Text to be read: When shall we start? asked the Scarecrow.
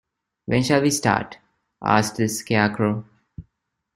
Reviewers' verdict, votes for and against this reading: accepted, 2, 0